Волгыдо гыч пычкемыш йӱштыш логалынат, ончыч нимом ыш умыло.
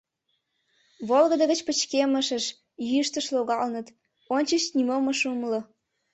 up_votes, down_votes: 1, 2